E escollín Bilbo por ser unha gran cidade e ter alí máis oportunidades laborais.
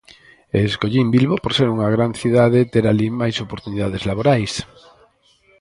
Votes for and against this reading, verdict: 2, 4, rejected